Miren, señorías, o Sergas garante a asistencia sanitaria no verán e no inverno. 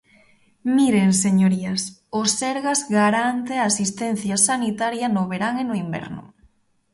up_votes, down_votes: 2, 0